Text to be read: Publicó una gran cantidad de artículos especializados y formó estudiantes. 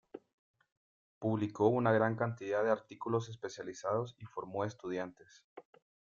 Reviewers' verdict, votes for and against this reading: accepted, 2, 0